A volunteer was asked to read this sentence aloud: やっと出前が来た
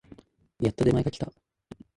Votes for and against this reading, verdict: 2, 0, accepted